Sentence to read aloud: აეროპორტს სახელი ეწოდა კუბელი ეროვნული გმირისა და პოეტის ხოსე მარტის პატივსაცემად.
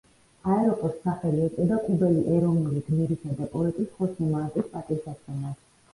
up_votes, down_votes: 0, 2